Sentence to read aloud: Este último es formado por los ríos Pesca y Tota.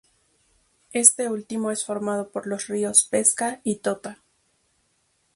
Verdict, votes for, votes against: rejected, 0, 2